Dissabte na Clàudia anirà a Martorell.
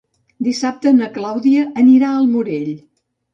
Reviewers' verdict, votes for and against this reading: rejected, 1, 2